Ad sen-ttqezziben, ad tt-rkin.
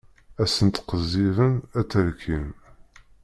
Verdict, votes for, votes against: rejected, 1, 2